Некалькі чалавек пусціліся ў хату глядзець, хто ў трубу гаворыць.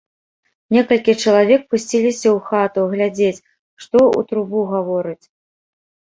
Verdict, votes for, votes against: rejected, 1, 3